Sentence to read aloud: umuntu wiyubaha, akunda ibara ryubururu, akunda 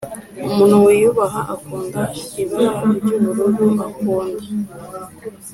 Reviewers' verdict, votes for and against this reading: accepted, 3, 0